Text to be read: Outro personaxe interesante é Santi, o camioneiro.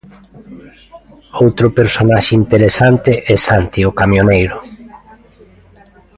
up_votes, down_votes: 2, 0